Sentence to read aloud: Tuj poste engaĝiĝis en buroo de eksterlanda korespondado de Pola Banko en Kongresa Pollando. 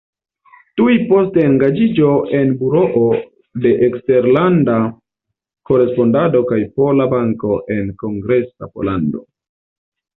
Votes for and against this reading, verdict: 0, 2, rejected